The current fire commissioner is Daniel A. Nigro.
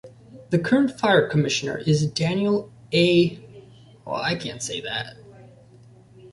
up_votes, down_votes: 0, 2